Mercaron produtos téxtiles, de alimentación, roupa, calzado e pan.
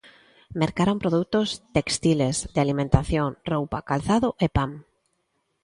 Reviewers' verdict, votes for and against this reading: accepted, 2, 1